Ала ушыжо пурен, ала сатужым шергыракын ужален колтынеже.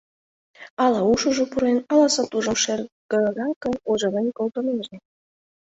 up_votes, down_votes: 1, 2